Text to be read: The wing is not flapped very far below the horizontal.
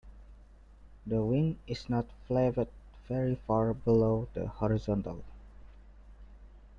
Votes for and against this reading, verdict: 0, 2, rejected